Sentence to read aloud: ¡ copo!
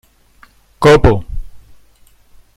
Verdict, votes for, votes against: rejected, 1, 2